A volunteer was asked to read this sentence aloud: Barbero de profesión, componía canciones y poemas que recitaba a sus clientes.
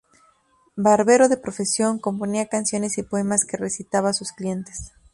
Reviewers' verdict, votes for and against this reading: accepted, 2, 0